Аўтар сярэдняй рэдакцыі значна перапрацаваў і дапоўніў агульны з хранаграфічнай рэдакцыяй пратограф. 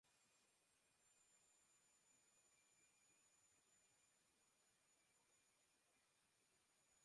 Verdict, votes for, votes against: rejected, 0, 2